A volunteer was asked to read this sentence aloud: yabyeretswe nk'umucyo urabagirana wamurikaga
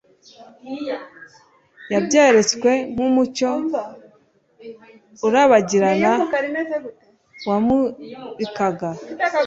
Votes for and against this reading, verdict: 1, 2, rejected